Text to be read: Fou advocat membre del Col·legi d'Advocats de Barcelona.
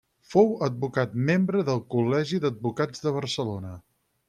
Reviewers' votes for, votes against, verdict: 6, 0, accepted